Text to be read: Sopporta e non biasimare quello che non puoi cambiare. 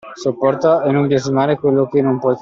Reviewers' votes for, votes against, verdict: 0, 2, rejected